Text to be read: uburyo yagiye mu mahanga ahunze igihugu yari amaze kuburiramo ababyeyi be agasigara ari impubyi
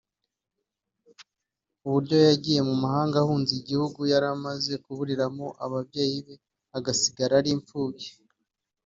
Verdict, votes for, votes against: rejected, 0, 2